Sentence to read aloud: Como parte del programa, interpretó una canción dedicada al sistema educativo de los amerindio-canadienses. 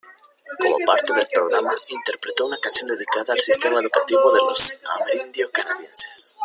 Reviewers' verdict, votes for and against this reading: rejected, 0, 2